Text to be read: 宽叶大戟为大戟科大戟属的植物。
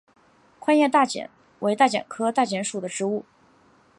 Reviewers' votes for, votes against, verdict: 1, 2, rejected